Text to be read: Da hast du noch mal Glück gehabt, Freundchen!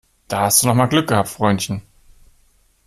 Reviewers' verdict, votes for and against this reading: accepted, 2, 0